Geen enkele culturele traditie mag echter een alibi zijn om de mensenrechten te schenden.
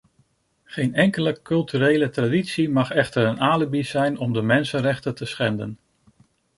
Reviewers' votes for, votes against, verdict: 2, 0, accepted